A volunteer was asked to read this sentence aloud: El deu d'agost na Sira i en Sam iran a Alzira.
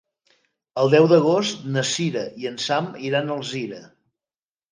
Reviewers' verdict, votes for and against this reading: accepted, 2, 0